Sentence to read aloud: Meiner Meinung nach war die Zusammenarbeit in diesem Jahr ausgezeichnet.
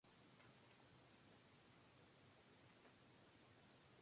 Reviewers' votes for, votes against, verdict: 0, 2, rejected